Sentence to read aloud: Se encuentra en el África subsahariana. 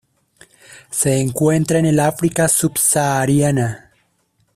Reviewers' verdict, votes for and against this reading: accepted, 2, 0